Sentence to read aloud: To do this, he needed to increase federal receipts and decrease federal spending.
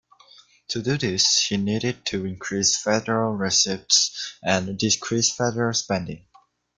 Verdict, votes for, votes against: rejected, 1, 2